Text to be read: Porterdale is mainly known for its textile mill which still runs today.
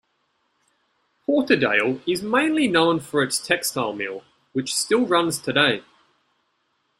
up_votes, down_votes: 2, 0